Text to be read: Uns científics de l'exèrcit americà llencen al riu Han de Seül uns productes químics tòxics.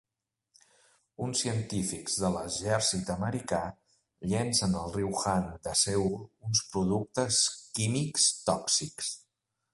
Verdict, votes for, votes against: accepted, 2, 0